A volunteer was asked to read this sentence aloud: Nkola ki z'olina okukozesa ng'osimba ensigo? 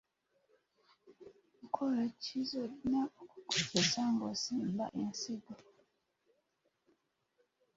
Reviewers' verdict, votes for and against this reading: rejected, 0, 2